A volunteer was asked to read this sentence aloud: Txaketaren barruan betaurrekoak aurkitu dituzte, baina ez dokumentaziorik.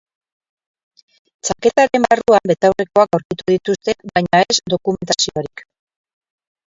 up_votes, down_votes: 0, 4